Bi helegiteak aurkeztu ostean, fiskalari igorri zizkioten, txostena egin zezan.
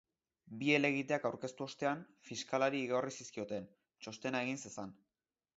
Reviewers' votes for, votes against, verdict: 3, 0, accepted